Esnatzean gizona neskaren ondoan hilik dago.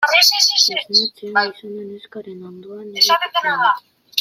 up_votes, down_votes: 0, 2